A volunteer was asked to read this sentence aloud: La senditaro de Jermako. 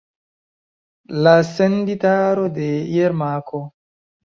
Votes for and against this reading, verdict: 2, 0, accepted